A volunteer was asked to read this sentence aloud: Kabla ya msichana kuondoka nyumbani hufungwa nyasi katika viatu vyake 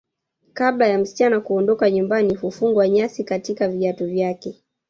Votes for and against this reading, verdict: 0, 2, rejected